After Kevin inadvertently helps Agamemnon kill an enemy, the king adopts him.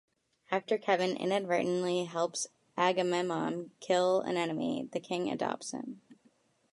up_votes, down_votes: 2, 1